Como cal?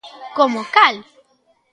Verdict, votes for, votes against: accepted, 2, 0